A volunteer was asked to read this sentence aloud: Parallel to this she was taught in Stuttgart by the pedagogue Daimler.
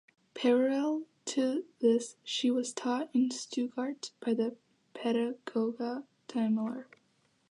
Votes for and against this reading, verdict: 2, 0, accepted